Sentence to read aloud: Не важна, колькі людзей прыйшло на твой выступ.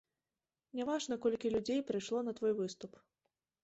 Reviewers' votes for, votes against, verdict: 1, 2, rejected